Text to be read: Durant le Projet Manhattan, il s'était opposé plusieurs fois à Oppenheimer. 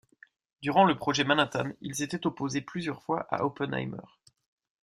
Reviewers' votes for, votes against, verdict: 2, 0, accepted